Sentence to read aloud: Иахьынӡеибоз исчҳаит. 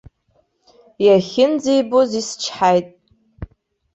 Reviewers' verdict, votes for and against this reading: accepted, 2, 0